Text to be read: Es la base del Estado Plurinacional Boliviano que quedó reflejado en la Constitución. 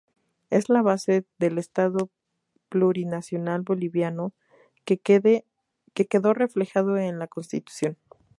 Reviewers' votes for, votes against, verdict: 2, 0, accepted